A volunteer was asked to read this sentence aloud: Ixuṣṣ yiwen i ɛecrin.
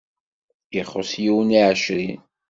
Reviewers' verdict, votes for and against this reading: accepted, 2, 0